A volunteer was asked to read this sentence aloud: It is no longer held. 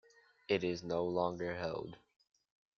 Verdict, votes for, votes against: accepted, 2, 0